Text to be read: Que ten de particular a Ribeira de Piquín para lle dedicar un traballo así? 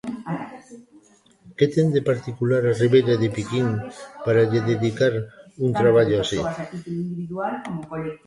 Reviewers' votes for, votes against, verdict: 0, 2, rejected